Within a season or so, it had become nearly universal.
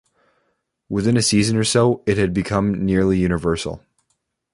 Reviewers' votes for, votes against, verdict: 2, 0, accepted